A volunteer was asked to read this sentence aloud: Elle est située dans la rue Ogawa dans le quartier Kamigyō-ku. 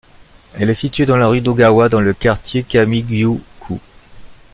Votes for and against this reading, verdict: 1, 2, rejected